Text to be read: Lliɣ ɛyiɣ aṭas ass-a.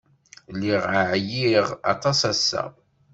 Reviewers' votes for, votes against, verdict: 2, 0, accepted